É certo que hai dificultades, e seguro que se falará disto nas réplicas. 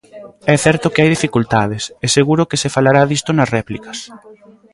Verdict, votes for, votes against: rejected, 0, 2